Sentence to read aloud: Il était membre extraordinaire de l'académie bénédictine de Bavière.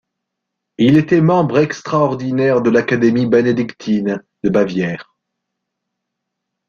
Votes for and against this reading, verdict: 2, 0, accepted